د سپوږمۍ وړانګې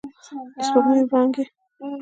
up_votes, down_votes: 2, 0